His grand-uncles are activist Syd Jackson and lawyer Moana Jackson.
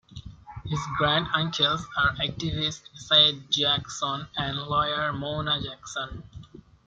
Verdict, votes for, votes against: rejected, 0, 2